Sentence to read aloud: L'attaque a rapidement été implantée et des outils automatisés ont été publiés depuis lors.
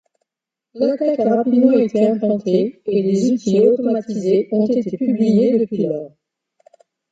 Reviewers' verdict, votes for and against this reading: rejected, 1, 2